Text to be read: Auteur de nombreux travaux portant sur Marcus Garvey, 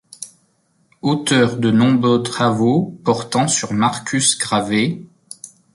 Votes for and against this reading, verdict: 1, 2, rejected